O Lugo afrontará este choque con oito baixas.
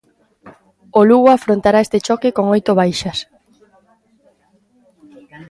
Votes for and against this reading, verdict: 0, 2, rejected